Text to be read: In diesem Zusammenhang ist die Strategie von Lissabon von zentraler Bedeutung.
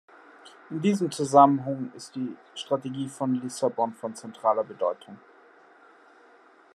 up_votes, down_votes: 2, 0